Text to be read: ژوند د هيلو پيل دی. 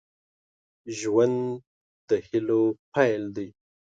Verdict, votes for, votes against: accepted, 2, 0